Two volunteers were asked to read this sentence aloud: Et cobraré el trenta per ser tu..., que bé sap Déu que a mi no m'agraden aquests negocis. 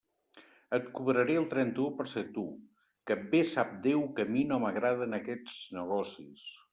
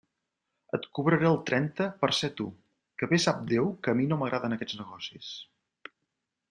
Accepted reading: second